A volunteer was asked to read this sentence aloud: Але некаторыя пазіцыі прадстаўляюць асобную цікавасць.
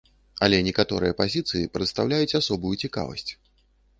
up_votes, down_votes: 1, 2